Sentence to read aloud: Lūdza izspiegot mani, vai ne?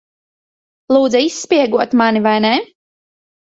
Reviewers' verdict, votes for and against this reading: accepted, 2, 0